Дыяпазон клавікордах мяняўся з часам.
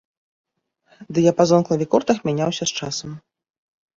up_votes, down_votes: 2, 0